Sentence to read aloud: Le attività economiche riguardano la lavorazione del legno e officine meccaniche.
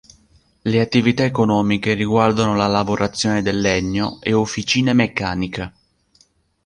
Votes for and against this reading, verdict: 1, 2, rejected